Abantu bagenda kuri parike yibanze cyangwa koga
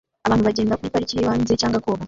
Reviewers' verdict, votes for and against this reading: rejected, 0, 2